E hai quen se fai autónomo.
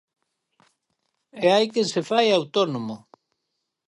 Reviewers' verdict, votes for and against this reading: accepted, 4, 0